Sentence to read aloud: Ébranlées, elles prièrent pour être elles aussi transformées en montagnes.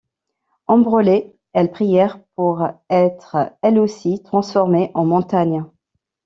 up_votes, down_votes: 0, 3